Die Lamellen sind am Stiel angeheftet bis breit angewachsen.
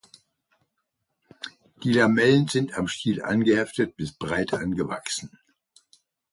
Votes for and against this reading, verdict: 2, 0, accepted